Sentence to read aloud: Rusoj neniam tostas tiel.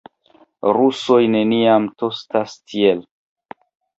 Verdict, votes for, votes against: accepted, 2, 0